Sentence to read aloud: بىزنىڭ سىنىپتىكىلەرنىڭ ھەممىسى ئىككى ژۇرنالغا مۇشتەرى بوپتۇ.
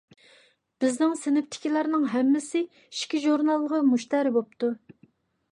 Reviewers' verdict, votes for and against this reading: accepted, 2, 0